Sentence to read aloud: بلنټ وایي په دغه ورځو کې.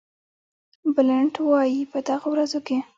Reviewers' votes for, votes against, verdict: 0, 2, rejected